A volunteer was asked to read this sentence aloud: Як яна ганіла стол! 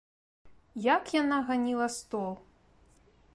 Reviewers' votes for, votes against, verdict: 1, 2, rejected